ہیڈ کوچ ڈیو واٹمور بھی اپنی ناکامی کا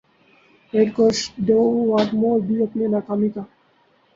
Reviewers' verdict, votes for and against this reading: rejected, 0, 2